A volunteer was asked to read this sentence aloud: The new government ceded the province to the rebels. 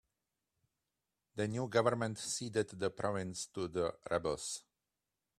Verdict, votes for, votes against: accepted, 2, 0